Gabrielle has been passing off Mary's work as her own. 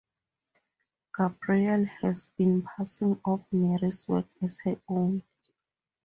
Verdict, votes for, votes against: accepted, 4, 0